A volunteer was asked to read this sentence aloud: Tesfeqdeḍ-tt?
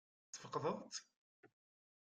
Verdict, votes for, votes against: rejected, 0, 2